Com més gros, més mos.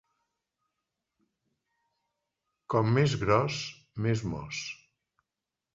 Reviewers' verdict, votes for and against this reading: accepted, 3, 0